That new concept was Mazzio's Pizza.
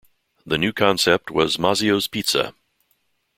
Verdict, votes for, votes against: accepted, 2, 0